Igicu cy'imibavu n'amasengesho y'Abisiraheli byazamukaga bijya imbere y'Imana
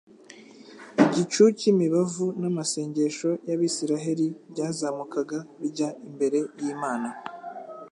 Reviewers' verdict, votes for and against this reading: accepted, 2, 0